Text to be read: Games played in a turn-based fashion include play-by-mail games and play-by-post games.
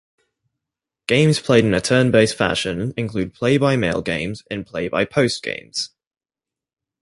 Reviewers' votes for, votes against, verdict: 2, 0, accepted